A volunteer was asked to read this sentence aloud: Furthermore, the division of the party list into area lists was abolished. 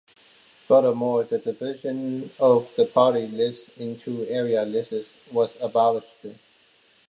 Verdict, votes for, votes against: rejected, 1, 2